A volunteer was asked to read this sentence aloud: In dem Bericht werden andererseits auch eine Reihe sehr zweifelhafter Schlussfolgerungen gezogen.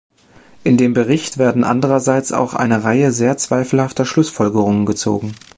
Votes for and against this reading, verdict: 2, 0, accepted